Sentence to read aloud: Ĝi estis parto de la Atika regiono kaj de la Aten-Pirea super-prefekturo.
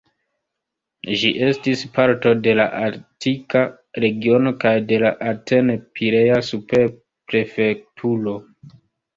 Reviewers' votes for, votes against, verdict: 0, 2, rejected